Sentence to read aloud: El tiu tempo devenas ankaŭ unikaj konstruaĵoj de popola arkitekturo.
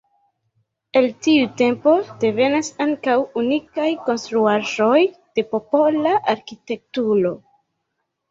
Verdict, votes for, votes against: rejected, 2, 3